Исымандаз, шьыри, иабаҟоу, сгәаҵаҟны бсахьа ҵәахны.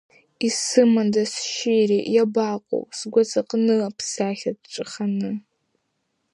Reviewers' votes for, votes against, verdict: 1, 2, rejected